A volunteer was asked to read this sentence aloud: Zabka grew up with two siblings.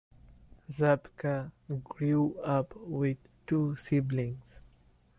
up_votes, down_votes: 2, 0